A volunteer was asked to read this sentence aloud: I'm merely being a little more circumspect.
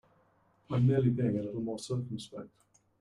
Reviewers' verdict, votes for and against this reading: rejected, 1, 2